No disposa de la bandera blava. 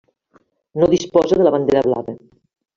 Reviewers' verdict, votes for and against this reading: accepted, 3, 1